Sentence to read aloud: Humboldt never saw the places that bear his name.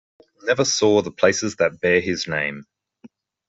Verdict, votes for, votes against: rejected, 0, 2